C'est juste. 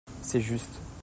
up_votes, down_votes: 2, 0